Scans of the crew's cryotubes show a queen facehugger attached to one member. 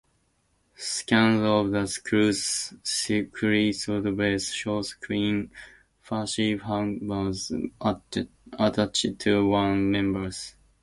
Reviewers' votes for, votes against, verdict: 2, 0, accepted